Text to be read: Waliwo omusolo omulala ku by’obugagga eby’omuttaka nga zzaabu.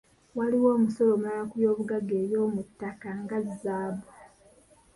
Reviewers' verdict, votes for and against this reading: accepted, 2, 0